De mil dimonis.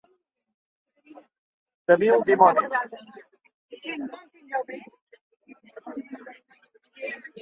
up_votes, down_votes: 1, 2